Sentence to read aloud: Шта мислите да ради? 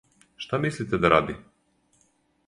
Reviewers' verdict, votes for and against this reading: accepted, 4, 0